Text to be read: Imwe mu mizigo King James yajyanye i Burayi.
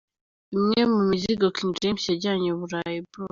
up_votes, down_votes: 2, 0